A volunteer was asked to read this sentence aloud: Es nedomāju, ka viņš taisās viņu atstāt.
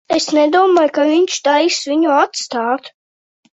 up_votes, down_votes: 1, 2